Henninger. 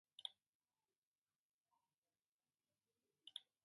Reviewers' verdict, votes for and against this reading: rejected, 0, 2